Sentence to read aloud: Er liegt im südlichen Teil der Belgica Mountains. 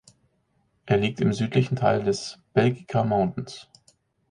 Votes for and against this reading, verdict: 0, 4, rejected